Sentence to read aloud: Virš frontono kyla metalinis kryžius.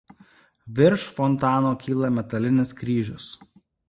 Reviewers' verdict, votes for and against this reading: rejected, 1, 2